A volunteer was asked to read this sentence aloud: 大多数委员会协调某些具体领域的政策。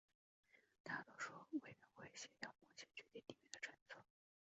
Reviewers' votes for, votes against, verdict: 0, 2, rejected